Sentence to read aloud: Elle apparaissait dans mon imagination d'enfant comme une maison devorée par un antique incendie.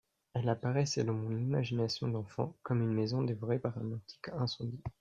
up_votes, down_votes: 2, 0